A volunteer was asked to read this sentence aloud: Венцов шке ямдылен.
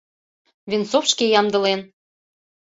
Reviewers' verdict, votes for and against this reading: accepted, 2, 0